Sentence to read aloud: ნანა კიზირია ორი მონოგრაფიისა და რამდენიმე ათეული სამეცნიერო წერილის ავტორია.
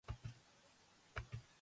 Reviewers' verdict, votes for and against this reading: rejected, 0, 5